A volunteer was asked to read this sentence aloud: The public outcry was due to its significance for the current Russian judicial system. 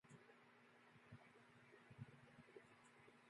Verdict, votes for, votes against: rejected, 0, 2